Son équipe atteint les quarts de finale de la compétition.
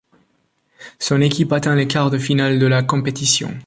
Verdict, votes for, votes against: accepted, 2, 0